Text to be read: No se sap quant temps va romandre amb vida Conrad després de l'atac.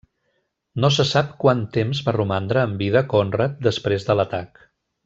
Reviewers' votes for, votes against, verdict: 1, 2, rejected